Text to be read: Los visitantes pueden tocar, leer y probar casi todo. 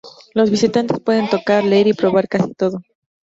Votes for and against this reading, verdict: 2, 0, accepted